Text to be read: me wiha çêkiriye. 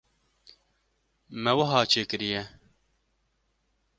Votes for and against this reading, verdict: 2, 0, accepted